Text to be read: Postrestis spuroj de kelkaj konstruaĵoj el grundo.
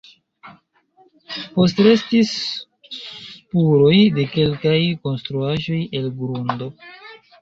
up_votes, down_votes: 1, 2